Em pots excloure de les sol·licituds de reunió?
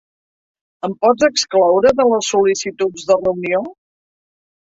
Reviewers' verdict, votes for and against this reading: rejected, 1, 2